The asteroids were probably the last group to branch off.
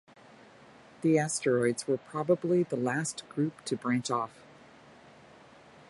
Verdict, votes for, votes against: accepted, 2, 0